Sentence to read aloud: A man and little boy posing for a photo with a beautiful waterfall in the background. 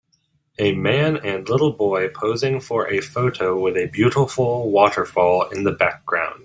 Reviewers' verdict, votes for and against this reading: rejected, 1, 2